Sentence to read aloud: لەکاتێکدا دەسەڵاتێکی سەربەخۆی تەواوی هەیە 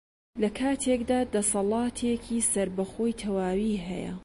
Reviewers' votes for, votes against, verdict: 2, 0, accepted